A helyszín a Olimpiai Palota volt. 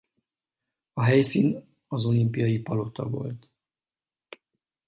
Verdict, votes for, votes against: accepted, 4, 0